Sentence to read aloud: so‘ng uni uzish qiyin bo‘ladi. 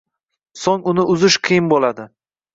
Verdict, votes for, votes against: rejected, 1, 2